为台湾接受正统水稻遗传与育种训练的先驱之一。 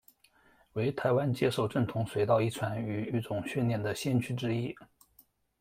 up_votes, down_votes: 2, 0